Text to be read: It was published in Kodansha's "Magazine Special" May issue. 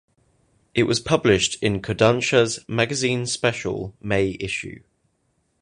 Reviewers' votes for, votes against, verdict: 2, 0, accepted